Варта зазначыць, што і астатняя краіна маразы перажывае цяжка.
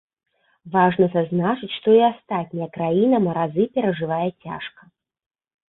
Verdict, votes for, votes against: rejected, 2, 3